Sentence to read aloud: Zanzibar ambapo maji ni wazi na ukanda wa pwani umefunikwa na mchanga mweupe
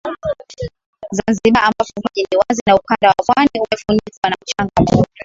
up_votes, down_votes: 4, 1